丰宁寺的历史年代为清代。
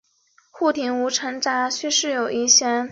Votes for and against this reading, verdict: 2, 0, accepted